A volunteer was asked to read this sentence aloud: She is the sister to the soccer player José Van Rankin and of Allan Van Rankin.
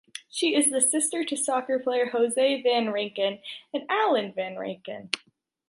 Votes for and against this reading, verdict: 1, 2, rejected